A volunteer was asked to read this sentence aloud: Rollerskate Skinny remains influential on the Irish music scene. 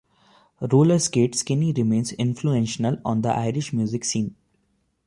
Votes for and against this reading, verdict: 1, 2, rejected